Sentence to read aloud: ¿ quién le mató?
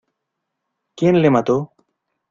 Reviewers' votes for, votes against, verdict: 2, 0, accepted